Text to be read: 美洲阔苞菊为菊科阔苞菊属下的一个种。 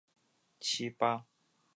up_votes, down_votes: 0, 5